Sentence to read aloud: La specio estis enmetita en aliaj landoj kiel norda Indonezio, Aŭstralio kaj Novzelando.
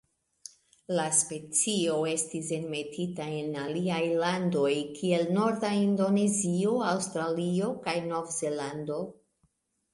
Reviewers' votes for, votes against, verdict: 2, 0, accepted